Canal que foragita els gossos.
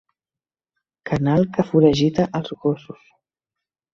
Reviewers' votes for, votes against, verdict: 4, 1, accepted